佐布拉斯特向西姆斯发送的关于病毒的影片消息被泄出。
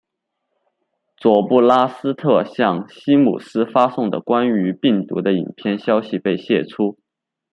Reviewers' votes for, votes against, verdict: 2, 0, accepted